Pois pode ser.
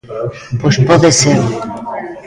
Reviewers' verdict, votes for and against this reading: rejected, 0, 2